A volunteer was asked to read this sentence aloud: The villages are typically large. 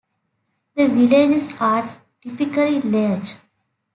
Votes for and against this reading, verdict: 1, 2, rejected